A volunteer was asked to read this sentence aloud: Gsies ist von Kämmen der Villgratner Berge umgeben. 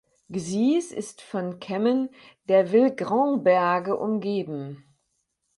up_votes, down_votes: 2, 6